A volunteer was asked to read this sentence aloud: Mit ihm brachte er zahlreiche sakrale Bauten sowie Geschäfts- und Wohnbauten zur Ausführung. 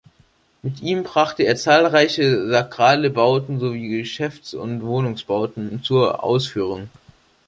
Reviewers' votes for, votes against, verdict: 0, 3, rejected